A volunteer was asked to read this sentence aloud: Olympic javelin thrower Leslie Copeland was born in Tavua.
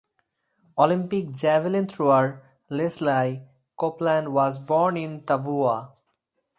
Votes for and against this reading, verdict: 0, 2, rejected